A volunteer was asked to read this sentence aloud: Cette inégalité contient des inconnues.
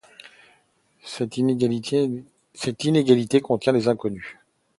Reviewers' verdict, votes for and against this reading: rejected, 0, 2